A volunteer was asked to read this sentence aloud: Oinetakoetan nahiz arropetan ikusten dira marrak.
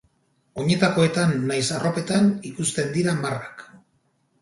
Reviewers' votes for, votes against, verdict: 4, 0, accepted